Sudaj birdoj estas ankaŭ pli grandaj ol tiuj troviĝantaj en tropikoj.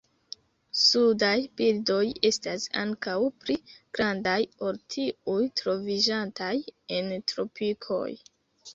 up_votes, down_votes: 2, 0